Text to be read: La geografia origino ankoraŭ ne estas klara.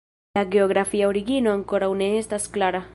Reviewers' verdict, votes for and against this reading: rejected, 0, 2